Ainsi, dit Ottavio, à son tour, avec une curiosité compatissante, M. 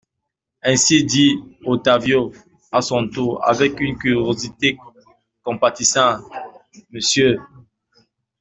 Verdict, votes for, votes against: rejected, 1, 2